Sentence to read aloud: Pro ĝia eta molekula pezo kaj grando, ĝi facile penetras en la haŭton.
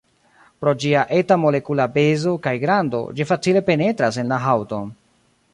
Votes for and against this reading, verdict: 2, 0, accepted